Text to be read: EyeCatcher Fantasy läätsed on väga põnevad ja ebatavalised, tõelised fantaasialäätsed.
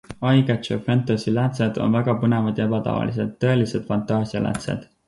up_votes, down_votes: 4, 0